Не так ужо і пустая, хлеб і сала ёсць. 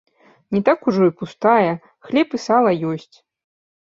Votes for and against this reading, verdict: 2, 0, accepted